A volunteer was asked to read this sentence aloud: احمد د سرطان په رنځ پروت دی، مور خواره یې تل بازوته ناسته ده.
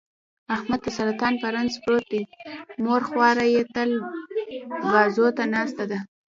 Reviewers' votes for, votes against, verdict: 1, 2, rejected